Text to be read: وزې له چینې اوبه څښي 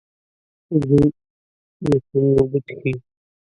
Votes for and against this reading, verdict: 0, 2, rejected